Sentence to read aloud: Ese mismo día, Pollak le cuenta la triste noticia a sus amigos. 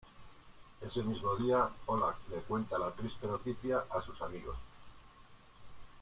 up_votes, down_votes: 1, 2